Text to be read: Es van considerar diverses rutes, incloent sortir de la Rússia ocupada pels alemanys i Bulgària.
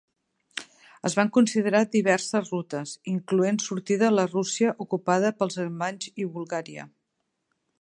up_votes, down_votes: 3, 1